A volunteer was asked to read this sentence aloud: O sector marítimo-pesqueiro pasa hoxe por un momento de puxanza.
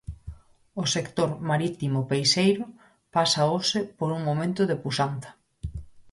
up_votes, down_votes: 2, 4